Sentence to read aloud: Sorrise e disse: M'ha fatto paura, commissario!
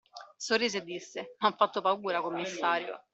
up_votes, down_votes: 2, 0